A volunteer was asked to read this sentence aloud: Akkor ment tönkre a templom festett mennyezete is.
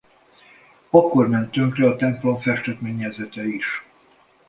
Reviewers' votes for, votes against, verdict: 2, 0, accepted